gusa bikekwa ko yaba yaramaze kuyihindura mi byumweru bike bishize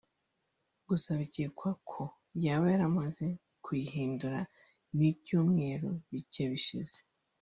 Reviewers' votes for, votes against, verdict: 0, 2, rejected